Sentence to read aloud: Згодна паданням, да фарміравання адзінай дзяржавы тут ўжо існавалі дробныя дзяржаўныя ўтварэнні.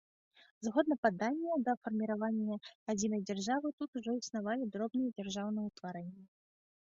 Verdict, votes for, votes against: accepted, 2, 0